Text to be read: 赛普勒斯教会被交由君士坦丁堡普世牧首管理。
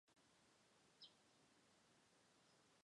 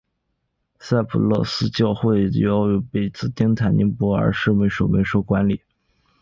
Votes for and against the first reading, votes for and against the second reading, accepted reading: 0, 2, 5, 2, second